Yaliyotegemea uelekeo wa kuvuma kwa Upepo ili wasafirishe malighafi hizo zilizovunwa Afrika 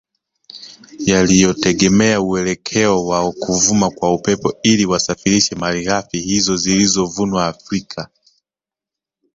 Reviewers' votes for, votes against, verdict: 3, 2, accepted